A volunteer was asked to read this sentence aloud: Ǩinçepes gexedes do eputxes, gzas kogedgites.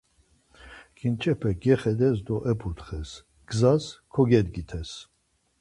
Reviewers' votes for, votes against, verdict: 4, 0, accepted